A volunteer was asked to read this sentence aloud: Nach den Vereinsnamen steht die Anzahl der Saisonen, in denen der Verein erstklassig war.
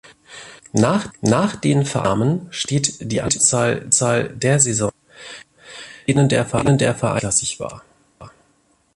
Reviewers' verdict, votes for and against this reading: rejected, 0, 2